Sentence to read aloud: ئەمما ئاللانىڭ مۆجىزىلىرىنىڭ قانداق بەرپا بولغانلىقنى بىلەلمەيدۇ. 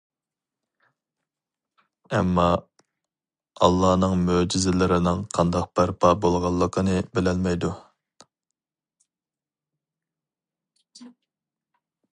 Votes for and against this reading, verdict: 0, 2, rejected